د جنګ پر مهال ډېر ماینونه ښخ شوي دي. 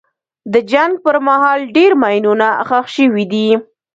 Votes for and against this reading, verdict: 1, 2, rejected